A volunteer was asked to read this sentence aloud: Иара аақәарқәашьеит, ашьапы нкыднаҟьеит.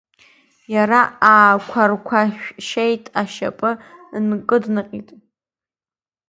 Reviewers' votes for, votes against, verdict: 0, 2, rejected